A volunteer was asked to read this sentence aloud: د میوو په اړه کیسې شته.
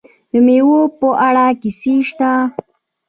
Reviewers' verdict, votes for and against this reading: rejected, 1, 2